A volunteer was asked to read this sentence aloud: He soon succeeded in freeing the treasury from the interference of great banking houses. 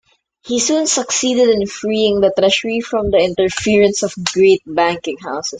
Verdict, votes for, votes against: rejected, 1, 2